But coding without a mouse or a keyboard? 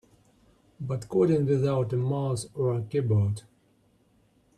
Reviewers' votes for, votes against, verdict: 2, 1, accepted